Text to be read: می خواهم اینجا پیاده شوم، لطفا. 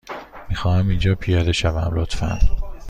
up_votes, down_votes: 2, 0